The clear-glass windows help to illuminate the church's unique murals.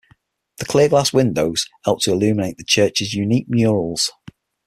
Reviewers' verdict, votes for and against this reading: accepted, 6, 0